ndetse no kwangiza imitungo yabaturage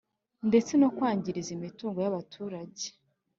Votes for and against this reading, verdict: 4, 0, accepted